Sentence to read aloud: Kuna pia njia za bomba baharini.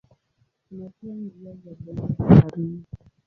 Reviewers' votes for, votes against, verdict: 0, 2, rejected